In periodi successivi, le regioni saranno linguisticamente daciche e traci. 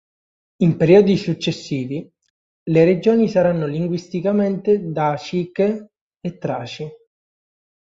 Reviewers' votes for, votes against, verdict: 2, 0, accepted